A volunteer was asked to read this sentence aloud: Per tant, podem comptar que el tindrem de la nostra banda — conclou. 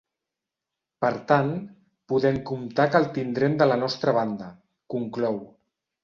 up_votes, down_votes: 2, 0